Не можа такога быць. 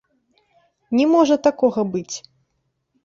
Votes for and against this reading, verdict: 1, 2, rejected